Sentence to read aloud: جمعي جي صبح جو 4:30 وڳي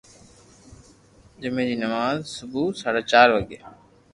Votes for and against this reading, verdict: 0, 2, rejected